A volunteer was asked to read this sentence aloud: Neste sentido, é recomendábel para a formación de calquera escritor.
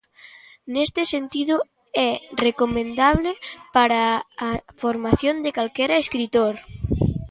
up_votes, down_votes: 0, 2